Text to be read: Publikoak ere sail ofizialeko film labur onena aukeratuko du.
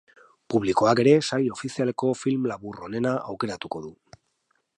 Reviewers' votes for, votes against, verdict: 4, 0, accepted